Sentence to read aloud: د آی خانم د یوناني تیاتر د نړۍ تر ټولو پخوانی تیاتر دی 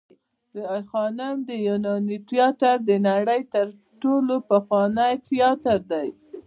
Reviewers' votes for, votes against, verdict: 0, 2, rejected